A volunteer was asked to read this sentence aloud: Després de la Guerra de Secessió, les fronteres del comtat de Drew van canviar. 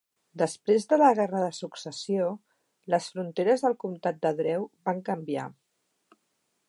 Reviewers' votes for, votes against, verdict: 1, 2, rejected